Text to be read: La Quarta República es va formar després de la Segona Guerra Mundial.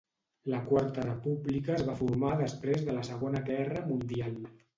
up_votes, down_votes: 1, 2